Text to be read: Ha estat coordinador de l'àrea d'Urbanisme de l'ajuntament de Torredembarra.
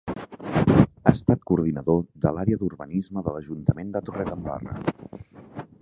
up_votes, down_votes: 1, 2